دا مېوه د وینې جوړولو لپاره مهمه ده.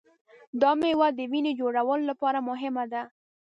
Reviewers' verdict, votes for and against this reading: accepted, 2, 0